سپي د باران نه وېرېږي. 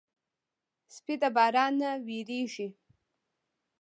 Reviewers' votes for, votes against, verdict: 1, 2, rejected